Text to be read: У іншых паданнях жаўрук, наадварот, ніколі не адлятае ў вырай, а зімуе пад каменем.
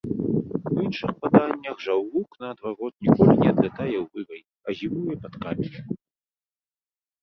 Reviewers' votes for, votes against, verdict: 2, 0, accepted